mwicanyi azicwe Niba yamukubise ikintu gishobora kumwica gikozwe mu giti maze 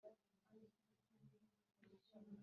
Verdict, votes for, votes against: rejected, 1, 2